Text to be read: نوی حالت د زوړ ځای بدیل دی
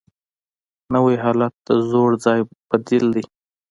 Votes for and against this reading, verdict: 3, 0, accepted